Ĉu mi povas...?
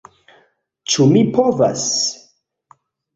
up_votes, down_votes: 2, 1